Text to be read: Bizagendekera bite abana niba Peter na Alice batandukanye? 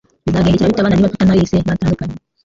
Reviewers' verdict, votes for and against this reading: rejected, 0, 2